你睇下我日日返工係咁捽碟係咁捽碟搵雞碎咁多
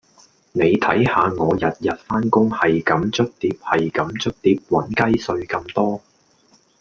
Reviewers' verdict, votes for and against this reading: accepted, 2, 0